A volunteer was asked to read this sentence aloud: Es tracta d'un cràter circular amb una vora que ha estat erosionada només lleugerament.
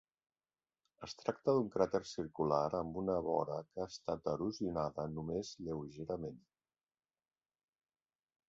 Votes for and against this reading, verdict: 2, 1, accepted